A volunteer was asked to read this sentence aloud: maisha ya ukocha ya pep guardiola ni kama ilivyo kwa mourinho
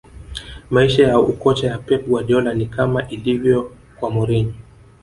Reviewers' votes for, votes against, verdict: 1, 2, rejected